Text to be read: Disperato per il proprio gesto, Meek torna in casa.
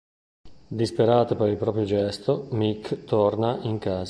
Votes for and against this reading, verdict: 2, 3, rejected